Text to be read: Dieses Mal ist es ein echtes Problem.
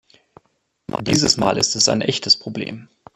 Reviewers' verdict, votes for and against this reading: accepted, 2, 0